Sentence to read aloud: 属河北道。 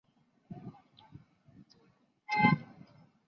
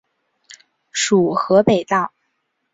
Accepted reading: second